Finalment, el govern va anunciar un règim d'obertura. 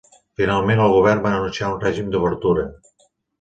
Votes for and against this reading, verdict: 2, 0, accepted